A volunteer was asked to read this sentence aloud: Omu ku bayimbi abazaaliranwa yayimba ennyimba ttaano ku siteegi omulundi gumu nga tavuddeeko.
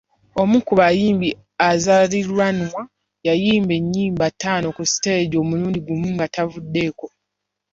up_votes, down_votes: 0, 2